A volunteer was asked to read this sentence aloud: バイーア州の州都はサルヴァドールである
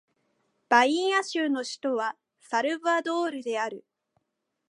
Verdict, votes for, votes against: accepted, 2, 0